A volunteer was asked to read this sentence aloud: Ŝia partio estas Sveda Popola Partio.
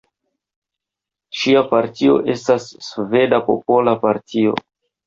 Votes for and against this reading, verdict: 2, 0, accepted